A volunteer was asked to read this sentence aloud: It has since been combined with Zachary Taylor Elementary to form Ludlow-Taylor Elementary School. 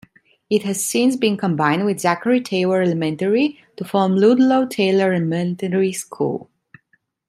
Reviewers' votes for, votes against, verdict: 0, 2, rejected